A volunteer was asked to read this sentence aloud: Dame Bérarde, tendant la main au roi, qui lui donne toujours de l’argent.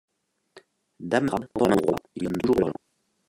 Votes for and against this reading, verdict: 0, 2, rejected